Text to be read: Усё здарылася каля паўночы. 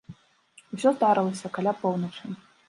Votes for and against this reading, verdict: 0, 2, rejected